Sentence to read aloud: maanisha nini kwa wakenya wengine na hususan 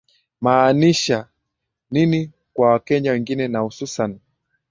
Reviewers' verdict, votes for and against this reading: accepted, 2, 0